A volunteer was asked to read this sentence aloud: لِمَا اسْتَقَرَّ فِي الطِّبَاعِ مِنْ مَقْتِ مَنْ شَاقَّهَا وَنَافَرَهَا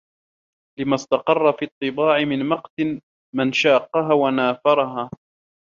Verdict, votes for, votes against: rejected, 1, 2